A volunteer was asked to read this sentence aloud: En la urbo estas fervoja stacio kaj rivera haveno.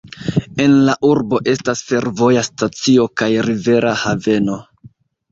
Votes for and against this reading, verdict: 0, 2, rejected